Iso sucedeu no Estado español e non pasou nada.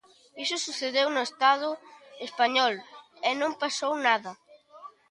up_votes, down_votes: 1, 2